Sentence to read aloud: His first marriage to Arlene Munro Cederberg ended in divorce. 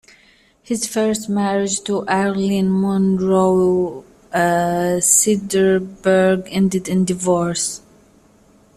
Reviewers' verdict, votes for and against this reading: rejected, 1, 2